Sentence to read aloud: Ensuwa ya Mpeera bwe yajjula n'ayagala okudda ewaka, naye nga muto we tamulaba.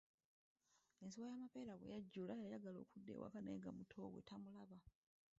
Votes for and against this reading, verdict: 1, 2, rejected